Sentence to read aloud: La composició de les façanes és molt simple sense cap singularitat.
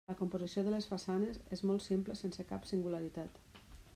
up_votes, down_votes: 3, 1